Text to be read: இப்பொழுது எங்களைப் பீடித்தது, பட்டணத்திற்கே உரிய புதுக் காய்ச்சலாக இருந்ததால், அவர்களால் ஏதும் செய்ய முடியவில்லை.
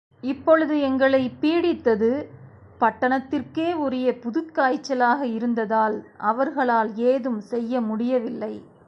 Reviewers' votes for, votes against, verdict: 3, 0, accepted